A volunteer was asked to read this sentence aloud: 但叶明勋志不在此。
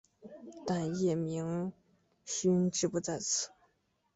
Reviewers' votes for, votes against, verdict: 3, 1, accepted